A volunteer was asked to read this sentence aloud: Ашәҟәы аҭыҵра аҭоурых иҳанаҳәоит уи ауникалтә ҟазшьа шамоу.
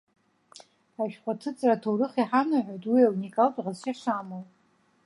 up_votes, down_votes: 2, 0